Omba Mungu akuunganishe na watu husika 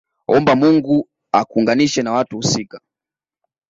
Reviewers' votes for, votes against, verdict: 2, 0, accepted